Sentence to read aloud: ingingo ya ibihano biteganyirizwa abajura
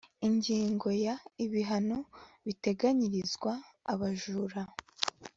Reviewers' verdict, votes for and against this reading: accepted, 5, 0